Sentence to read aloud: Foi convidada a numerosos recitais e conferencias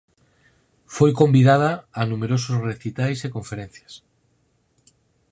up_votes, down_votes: 4, 0